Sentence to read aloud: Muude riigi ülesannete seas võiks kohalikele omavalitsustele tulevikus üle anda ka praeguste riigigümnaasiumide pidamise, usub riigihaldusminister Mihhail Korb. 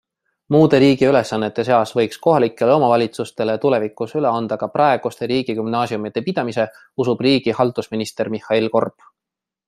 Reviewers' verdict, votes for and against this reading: accepted, 2, 0